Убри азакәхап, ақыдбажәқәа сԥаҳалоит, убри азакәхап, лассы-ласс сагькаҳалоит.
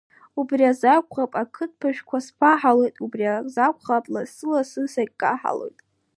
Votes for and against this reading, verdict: 2, 0, accepted